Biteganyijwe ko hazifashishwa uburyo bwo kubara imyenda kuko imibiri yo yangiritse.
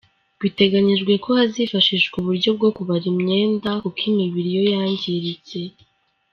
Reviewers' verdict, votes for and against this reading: rejected, 1, 2